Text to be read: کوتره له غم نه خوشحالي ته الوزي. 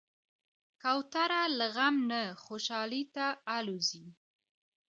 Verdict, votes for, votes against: accepted, 2, 1